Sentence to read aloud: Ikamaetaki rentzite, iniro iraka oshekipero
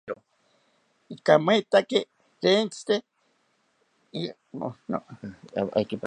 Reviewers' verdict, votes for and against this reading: rejected, 1, 2